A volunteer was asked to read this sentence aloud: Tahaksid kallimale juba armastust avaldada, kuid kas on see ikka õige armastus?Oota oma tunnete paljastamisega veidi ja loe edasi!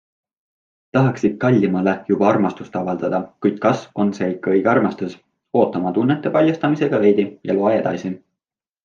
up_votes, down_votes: 2, 0